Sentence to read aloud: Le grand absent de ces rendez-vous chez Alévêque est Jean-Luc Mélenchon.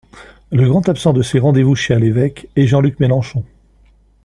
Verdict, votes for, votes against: accepted, 2, 0